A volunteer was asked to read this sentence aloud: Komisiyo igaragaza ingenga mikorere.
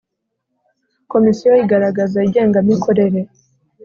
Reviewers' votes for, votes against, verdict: 2, 0, accepted